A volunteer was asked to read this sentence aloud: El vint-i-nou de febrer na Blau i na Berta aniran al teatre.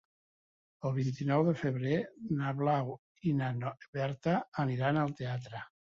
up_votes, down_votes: 2, 3